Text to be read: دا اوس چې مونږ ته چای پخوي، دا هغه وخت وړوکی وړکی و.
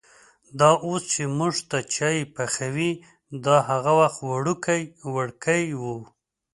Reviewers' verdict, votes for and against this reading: accepted, 2, 0